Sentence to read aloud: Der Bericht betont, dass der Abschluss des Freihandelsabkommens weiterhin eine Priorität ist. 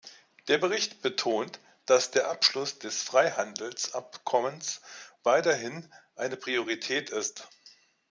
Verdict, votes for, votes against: accepted, 2, 1